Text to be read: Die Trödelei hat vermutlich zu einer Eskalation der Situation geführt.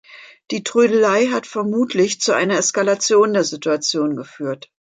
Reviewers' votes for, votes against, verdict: 2, 0, accepted